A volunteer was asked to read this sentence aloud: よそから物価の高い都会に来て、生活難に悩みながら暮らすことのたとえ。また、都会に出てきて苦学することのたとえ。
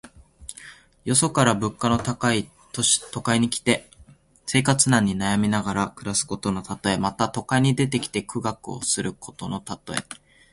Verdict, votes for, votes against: rejected, 0, 4